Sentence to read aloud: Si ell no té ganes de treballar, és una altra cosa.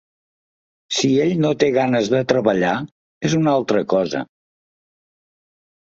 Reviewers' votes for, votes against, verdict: 2, 0, accepted